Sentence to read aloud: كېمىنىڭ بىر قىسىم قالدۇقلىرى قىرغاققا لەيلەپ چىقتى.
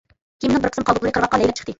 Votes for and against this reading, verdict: 0, 2, rejected